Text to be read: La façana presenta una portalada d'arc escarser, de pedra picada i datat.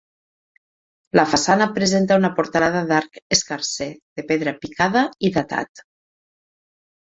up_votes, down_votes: 4, 0